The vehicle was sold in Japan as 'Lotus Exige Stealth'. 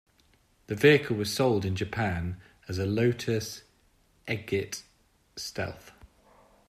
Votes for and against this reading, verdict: 1, 2, rejected